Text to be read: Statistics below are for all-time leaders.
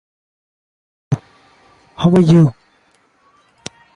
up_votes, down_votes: 1, 2